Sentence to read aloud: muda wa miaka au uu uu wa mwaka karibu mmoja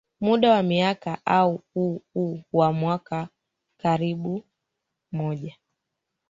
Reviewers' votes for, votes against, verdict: 2, 3, rejected